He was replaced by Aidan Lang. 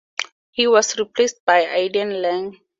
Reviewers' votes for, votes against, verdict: 4, 2, accepted